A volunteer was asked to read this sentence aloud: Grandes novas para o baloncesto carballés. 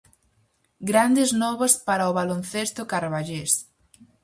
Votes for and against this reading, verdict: 4, 0, accepted